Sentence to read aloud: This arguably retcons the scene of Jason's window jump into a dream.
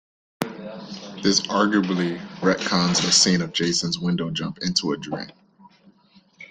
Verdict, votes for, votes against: accepted, 2, 1